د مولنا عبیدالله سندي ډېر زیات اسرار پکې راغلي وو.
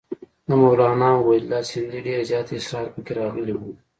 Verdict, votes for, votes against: accepted, 2, 0